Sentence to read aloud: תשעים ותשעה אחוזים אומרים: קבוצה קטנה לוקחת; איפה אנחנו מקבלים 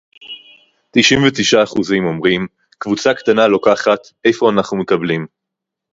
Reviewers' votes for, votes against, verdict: 4, 0, accepted